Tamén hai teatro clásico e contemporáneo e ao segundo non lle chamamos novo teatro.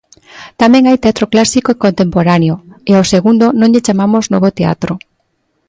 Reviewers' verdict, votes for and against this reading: accepted, 3, 0